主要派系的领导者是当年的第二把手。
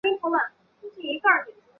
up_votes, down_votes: 0, 4